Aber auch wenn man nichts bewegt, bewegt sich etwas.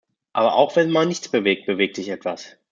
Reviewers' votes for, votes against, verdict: 2, 0, accepted